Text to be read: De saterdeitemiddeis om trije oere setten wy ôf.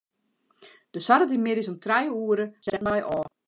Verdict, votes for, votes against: rejected, 1, 3